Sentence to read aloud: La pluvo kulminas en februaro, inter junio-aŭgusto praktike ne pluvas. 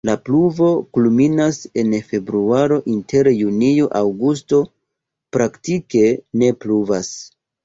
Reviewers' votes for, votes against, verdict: 2, 0, accepted